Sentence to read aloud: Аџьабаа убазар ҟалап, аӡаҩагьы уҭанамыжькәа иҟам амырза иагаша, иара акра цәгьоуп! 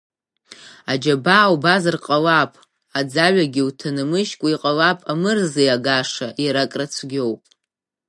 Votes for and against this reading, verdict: 1, 2, rejected